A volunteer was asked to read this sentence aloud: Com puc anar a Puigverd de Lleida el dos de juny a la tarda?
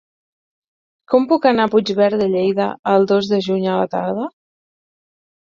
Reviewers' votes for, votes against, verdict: 6, 0, accepted